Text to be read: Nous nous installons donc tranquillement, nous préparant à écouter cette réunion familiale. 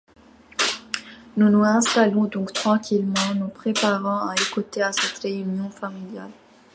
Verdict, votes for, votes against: rejected, 0, 2